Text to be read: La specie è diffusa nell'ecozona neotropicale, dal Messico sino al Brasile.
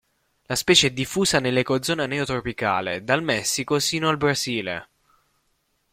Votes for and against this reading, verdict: 2, 0, accepted